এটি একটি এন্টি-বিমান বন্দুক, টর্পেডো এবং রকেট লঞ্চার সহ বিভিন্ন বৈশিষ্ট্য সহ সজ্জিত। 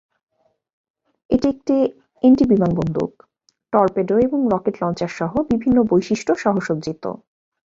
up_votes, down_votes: 4, 0